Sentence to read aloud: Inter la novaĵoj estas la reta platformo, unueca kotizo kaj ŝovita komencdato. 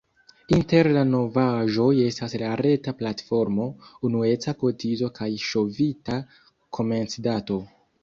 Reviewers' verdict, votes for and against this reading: rejected, 1, 2